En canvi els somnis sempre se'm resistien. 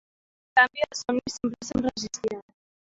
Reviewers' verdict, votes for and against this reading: rejected, 0, 2